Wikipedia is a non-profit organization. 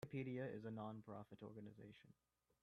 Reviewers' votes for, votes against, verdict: 0, 3, rejected